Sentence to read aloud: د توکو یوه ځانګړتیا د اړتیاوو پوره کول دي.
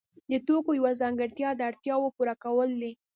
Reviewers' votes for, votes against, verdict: 2, 0, accepted